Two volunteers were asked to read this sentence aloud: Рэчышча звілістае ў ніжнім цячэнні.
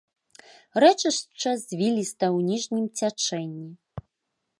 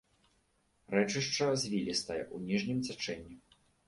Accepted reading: second